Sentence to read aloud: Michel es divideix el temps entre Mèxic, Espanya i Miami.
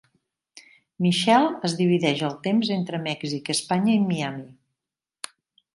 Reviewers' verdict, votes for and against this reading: rejected, 1, 2